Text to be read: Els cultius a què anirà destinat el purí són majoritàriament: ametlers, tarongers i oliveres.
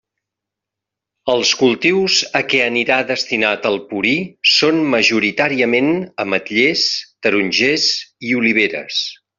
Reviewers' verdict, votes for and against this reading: accepted, 2, 0